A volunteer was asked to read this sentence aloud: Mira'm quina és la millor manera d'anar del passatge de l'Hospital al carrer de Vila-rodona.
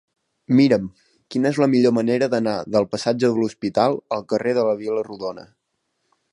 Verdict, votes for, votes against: rejected, 1, 2